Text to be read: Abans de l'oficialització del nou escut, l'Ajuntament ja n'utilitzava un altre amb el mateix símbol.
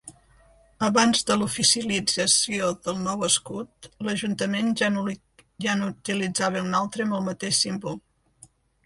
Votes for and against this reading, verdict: 0, 2, rejected